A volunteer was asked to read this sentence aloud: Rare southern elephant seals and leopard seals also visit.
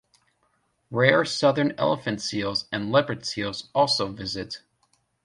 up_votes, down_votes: 1, 2